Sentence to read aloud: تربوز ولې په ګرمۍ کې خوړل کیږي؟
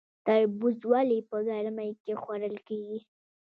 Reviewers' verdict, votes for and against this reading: accepted, 2, 0